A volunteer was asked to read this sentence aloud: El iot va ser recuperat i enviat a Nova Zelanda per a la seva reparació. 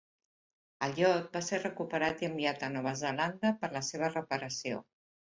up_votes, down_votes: 1, 2